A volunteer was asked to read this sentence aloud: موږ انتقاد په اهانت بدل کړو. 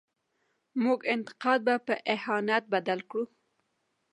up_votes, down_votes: 2, 1